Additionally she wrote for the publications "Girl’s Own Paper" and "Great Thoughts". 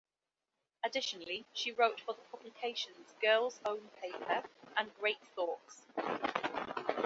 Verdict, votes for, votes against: accepted, 3, 1